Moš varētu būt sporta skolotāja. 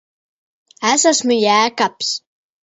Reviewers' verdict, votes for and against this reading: rejected, 0, 2